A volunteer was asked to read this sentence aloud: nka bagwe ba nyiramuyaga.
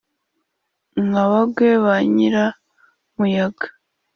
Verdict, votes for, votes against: accepted, 2, 0